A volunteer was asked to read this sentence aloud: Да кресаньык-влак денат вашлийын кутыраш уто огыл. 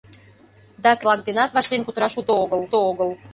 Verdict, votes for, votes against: rejected, 0, 2